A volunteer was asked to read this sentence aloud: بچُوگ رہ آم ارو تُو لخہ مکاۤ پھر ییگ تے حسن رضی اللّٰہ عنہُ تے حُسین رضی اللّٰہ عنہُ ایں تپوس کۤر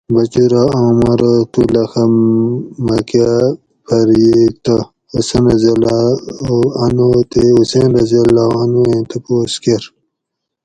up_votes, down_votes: 2, 4